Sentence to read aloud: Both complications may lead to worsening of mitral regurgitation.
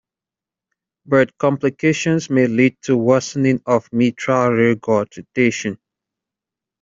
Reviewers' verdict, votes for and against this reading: rejected, 0, 2